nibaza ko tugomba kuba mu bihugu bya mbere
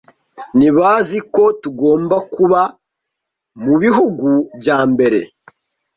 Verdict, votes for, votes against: rejected, 0, 2